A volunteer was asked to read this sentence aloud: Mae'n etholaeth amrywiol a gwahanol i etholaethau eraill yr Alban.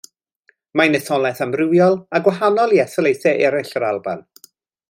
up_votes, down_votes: 2, 0